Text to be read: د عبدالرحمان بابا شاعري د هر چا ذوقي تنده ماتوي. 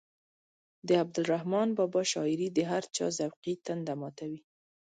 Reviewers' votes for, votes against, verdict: 0, 2, rejected